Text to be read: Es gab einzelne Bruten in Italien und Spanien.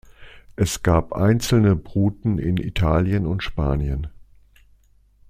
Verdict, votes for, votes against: accepted, 2, 0